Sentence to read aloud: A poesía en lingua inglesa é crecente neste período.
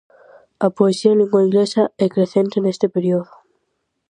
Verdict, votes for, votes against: rejected, 0, 4